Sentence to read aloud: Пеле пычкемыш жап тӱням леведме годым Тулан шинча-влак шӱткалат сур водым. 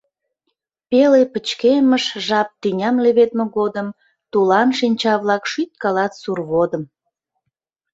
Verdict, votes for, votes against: accepted, 2, 0